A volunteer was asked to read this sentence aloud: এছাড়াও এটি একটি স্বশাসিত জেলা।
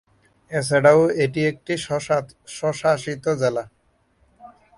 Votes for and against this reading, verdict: 4, 2, accepted